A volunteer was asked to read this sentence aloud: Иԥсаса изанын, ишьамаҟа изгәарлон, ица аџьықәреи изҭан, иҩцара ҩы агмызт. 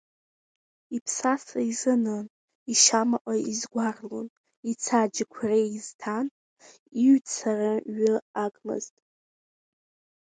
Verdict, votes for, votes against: rejected, 0, 2